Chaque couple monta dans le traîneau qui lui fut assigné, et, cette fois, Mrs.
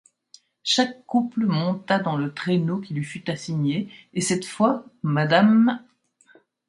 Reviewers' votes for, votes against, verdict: 1, 2, rejected